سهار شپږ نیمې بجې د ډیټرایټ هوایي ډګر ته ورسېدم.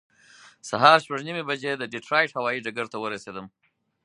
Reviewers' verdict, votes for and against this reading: accepted, 4, 0